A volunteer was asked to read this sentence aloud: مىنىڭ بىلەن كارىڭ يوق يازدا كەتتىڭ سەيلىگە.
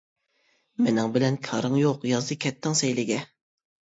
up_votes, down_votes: 2, 0